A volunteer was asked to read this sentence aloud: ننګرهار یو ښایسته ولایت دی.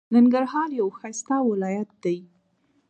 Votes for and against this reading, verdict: 0, 2, rejected